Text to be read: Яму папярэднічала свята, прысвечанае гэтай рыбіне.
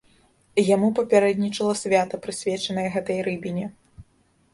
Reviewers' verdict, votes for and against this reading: accepted, 2, 0